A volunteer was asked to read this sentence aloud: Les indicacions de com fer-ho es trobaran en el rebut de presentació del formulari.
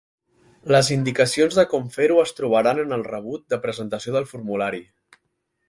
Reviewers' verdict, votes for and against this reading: accepted, 2, 0